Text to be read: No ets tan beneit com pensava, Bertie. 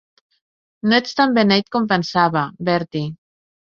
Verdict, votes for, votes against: accepted, 2, 0